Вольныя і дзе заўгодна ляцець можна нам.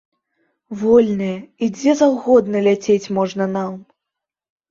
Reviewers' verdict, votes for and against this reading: accepted, 3, 0